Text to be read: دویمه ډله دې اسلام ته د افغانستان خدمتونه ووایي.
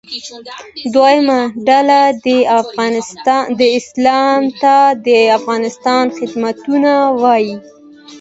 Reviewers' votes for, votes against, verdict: 2, 0, accepted